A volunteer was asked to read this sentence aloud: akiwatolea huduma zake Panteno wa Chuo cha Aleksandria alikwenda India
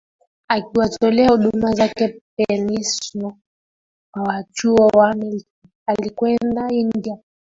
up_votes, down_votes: 0, 2